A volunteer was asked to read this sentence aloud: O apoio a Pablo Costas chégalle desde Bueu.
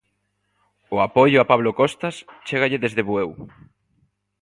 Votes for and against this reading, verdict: 2, 0, accepted